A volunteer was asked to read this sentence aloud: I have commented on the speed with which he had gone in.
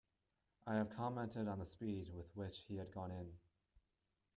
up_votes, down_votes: 2, 1